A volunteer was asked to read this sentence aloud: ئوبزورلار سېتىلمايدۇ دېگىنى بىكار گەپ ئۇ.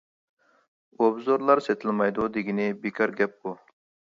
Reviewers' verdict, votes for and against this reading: accepted, 2, 0